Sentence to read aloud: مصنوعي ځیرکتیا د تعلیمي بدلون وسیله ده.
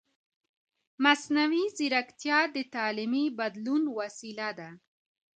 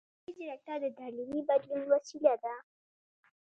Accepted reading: first